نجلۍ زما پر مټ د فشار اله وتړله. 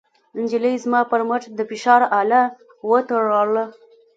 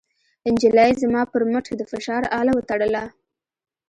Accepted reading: second